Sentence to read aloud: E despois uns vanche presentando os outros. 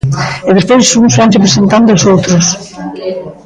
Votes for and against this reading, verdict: 1, 2, rejected